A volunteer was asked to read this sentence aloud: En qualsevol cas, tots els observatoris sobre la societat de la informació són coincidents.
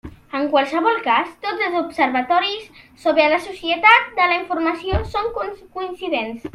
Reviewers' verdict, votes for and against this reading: rejected, 0, 2